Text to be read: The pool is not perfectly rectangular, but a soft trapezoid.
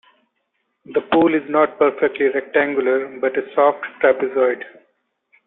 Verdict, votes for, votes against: accepted, 2, 0